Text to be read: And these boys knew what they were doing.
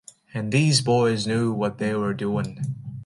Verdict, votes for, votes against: accepted, 2, 0